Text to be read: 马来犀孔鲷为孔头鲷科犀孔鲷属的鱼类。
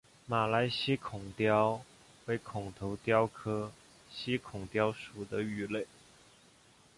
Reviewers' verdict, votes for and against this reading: accepted, 3, 0